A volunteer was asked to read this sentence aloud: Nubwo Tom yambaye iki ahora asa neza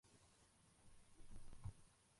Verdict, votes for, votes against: rejected, 0, 2